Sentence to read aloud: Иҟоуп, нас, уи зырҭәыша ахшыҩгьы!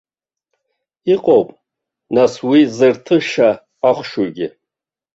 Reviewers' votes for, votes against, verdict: 0, 2, rejected